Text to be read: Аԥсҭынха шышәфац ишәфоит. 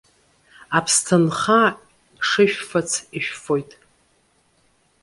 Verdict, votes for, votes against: accepted, 2, 0